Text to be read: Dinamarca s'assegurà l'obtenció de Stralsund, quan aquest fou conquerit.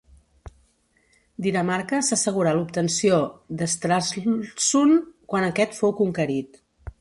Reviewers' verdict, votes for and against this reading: rejected, 1, 2